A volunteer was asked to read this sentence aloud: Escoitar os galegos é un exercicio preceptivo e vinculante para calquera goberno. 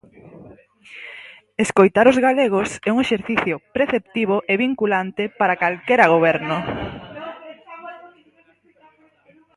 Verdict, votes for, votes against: rejected, 0, 4